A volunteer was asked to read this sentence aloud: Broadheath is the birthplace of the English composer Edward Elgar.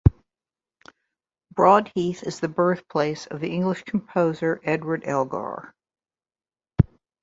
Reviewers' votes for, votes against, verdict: 3, 0, accepted